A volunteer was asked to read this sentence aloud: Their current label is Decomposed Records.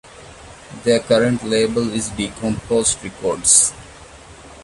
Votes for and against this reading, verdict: 2, 0, accepted